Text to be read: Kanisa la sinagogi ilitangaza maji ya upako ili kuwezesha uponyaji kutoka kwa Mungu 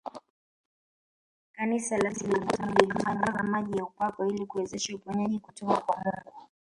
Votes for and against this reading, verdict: 0, 2, rejected